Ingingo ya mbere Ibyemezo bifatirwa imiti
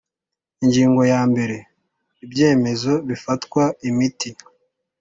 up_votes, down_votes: 2, 0